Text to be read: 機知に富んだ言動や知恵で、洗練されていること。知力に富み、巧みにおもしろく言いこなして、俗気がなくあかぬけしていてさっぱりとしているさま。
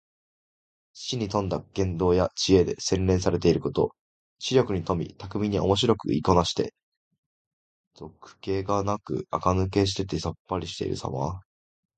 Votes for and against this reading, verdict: 2, 1, accepted